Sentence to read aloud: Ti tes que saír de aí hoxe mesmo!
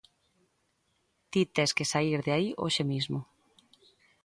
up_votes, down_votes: 0, 2